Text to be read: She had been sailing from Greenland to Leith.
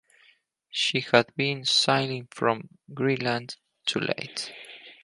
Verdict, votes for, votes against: accepted, 4, 0